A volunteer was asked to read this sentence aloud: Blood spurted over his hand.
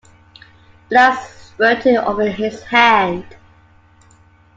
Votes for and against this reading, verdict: 1, 2, rejected